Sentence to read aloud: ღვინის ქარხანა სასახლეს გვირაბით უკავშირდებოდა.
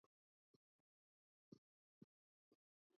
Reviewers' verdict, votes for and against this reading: rejected, 0, 2